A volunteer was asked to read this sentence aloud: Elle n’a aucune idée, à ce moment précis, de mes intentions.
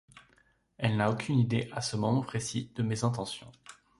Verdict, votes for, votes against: accepted, 2, 0